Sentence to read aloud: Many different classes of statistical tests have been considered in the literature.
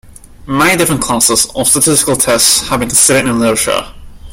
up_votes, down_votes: 0, 2